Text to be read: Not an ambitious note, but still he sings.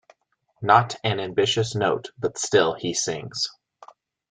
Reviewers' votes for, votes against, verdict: 2, 0, accepted